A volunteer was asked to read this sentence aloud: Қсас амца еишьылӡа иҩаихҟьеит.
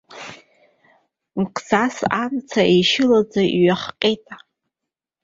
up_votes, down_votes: 0, 2